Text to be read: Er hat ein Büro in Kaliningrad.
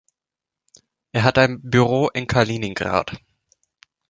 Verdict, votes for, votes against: accepted, 2, 0